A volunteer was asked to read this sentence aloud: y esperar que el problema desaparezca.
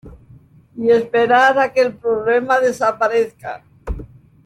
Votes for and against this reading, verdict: 0, 2, rejected